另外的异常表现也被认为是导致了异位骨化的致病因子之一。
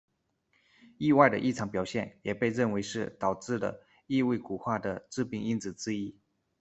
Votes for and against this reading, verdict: 1, 2, rejected